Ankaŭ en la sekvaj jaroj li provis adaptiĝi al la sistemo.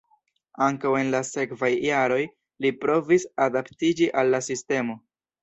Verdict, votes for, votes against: rejected, 0, 2